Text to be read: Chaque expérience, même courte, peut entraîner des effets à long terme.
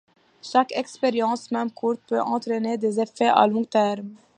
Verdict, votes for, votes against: accepted, 2, 0